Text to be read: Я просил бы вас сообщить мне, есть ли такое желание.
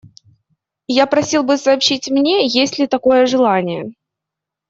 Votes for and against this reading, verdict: 0, 2, rejected